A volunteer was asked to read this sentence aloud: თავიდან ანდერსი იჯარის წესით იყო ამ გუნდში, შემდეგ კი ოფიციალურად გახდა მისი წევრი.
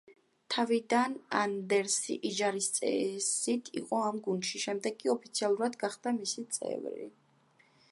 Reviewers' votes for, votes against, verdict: 2, 3, rejected